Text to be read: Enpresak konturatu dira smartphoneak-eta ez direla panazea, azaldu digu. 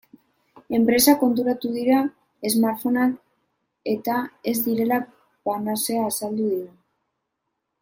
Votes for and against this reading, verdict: 3, 3, rejected